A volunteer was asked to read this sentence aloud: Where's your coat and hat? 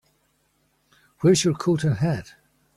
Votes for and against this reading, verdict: 2, 0, accepted